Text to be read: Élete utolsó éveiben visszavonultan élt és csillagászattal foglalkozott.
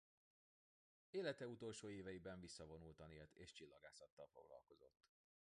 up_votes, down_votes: 1, 2